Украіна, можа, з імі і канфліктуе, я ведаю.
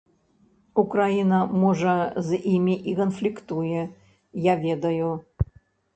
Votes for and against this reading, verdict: 0, 2, rejected